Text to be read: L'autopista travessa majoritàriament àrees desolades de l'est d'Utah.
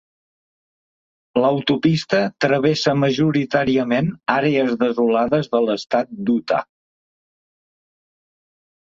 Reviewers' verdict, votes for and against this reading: rejected, 0, 2